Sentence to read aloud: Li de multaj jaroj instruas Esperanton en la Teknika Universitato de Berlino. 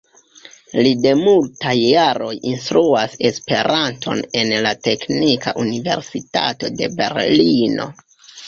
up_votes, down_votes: 2, 1